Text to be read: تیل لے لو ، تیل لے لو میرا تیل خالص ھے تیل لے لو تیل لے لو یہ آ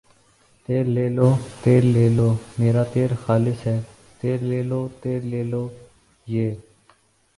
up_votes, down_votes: 6, 2